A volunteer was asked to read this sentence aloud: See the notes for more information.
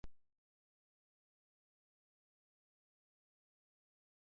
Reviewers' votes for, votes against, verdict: 0, 3, rejected